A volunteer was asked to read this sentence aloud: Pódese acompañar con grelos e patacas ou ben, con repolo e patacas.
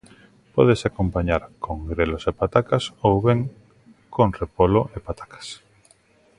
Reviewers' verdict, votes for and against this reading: accepted, 2, 0